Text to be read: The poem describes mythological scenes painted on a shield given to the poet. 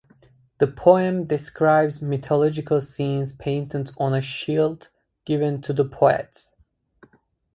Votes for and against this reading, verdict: 2, 0, accepted